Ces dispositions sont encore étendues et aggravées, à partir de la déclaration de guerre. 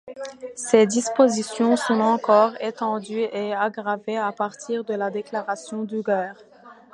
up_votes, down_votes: 1, 2